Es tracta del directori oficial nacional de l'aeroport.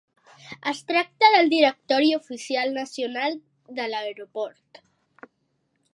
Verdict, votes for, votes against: accepted, 3, 0